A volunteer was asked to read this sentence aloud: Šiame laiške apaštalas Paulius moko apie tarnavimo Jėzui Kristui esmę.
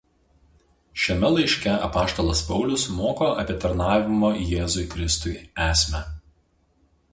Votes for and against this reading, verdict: 2, 0, accepted